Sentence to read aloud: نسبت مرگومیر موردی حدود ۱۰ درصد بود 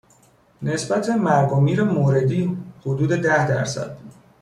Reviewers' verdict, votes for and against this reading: rejected, 0, 2